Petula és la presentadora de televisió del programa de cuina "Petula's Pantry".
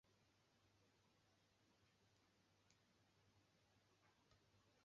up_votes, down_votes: 0, 2